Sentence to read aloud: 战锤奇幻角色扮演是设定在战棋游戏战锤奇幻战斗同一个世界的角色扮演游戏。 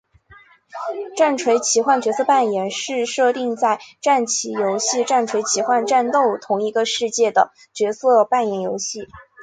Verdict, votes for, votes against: accepted, 2, 0